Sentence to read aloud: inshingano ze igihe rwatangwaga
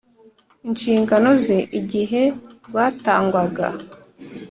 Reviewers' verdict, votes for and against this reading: accepted, 2, 0